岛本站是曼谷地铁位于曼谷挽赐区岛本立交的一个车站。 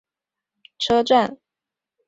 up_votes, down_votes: 0, 3